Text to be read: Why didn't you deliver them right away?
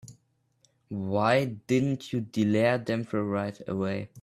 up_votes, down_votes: 0, 3